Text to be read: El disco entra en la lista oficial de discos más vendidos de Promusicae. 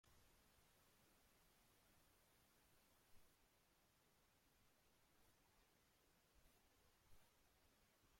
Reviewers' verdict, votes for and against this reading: rejected, 0, 3